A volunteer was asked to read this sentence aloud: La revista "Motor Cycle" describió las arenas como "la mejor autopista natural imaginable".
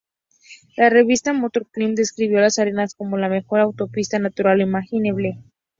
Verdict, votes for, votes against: accepted, 2, 0